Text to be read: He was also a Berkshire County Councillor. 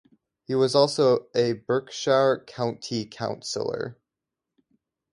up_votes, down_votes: 2, 0